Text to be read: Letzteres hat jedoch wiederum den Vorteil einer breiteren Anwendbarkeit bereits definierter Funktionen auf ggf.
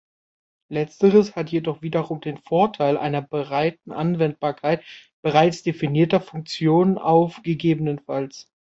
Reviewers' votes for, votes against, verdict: 0, 3, rejected